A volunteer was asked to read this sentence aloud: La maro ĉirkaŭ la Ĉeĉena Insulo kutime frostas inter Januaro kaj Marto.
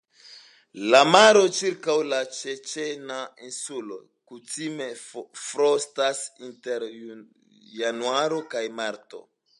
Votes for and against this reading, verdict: 2, 0, accepted